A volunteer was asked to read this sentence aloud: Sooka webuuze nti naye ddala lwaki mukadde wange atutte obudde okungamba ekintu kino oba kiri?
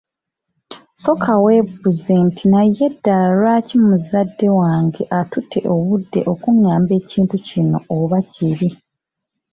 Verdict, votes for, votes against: rejected, 1, 2